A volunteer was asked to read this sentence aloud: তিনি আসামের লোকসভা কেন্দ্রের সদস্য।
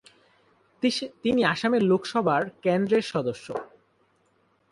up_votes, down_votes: 0, 2